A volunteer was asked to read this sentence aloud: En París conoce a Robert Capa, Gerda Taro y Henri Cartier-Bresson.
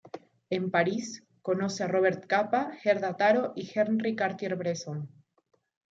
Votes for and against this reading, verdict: 2, 1, accepted